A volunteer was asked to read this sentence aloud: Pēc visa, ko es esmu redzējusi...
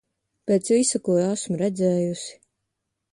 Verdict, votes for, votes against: rejected, 0, 2